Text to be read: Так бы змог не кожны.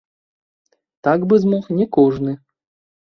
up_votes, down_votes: 1, 2